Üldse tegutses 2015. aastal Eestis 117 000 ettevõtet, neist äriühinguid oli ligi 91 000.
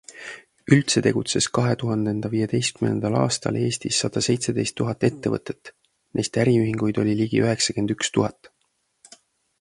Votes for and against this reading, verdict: 0, 2, rejected